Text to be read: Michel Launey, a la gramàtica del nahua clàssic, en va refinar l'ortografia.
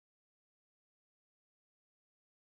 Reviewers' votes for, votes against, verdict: 1, 2, rejected